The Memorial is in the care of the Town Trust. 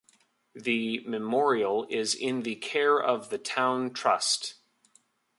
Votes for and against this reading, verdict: 2, 0, accepted